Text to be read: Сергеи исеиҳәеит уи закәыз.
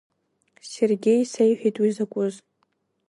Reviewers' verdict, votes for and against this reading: accepted, 2, 0